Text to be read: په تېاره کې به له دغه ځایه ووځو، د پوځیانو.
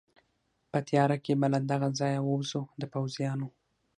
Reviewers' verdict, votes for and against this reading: accepted, 6, 0